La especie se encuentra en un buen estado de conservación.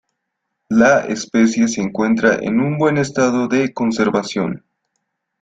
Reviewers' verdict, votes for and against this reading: accepted, 2, 1